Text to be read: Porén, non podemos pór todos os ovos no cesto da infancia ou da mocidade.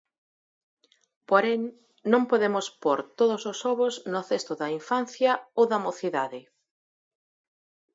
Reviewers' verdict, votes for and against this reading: accepted, 14, 6